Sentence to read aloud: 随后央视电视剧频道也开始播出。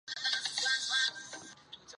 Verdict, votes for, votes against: rejected, 0, 4